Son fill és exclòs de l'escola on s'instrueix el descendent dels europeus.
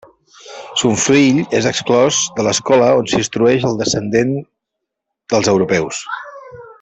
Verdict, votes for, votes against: rejected, 0, 2